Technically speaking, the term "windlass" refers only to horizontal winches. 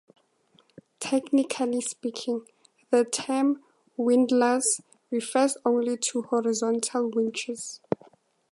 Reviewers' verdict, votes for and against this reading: accepted, 2, 0